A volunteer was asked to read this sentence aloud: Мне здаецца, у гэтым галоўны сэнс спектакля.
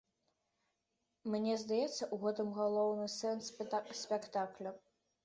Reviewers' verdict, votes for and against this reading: rejected, 0, 2